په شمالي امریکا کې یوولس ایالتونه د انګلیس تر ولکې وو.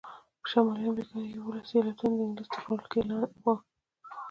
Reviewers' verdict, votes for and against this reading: accepted, 2, 1